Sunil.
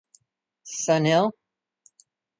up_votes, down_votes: 1, 2